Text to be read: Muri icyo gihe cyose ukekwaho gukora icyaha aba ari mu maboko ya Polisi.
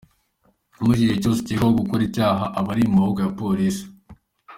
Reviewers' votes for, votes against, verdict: 2, 0, accepted